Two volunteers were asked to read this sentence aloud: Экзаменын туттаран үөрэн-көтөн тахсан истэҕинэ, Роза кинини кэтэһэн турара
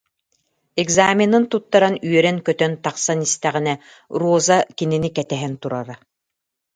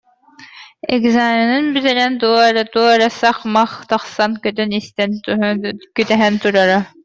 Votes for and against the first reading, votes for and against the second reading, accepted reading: 2, 0, 0, 2, first